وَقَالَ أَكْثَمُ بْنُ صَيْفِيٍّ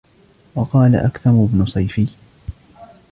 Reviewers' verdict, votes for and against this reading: accepted, 2, 1